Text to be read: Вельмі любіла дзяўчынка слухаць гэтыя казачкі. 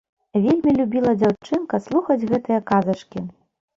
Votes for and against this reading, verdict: 1, 2, rejected